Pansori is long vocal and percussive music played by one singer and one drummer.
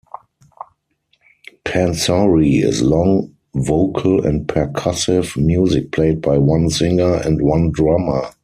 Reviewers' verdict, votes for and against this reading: rejected, 2, 4